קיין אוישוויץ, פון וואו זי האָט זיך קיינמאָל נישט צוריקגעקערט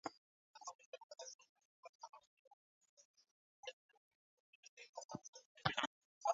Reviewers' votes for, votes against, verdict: 0, 2, rejected